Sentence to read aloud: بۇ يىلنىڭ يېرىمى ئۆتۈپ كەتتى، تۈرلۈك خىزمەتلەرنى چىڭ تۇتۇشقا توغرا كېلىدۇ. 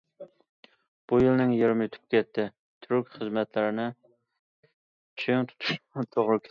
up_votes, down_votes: 0, 2